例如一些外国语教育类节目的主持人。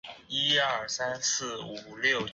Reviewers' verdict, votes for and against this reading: rejected, 1, 3